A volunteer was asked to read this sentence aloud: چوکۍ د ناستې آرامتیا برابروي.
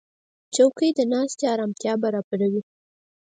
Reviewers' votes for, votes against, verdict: 2, 4, rejected